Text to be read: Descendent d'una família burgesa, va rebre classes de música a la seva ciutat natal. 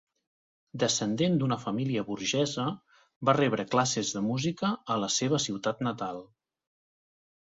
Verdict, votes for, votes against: accepted, 3, 0